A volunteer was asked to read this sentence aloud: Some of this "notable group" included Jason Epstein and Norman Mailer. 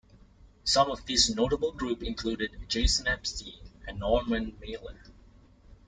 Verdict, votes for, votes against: accepted, 2, 1